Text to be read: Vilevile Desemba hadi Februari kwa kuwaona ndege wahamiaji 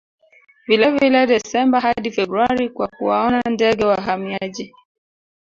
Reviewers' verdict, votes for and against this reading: rejected, 1, 2